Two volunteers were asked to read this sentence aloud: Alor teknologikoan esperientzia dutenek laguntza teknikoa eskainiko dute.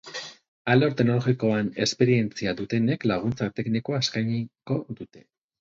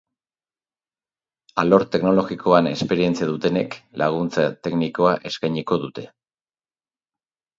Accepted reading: second